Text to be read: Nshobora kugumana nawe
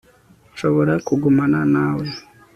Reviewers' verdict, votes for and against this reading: rejected, 1, 2